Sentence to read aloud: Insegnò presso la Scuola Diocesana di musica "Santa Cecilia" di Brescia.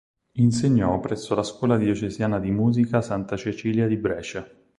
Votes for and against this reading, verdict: 2, 4, rejected